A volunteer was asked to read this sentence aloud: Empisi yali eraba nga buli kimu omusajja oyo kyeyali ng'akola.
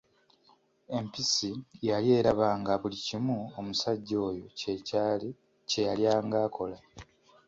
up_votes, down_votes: 2, 3